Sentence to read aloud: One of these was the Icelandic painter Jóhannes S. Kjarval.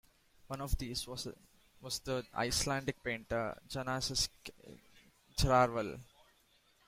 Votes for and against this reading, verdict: 1, 2, rejected